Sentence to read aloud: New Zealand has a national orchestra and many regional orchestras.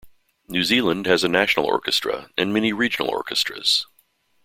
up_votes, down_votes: 2, 0